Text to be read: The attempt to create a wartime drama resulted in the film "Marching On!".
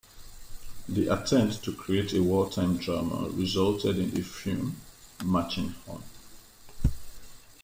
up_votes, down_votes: 2, 0